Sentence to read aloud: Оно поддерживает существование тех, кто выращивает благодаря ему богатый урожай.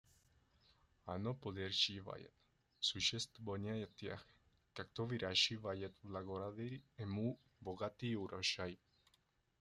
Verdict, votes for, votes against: rejected, 0, 2